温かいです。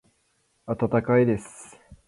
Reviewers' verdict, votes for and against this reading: accepted, 2, 0